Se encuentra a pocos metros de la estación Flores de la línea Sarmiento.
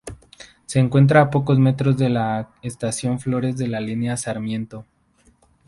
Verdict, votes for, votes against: accepted, 8, 0